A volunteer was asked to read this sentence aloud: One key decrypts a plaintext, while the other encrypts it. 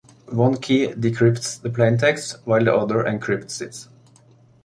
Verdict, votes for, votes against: rejected, 1, 2